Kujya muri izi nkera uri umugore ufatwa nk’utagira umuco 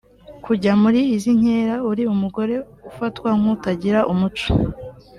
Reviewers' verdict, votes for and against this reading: accepted, 2, 0